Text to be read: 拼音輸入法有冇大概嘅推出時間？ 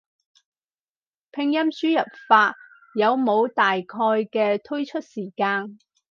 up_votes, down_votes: 4, 0